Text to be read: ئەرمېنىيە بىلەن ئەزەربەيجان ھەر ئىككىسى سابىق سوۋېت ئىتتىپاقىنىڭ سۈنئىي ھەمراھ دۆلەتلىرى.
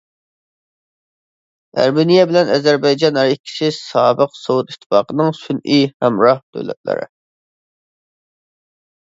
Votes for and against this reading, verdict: 2, 1, accepted